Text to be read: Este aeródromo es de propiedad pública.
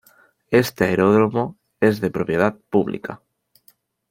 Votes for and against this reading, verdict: 2, 0, accepted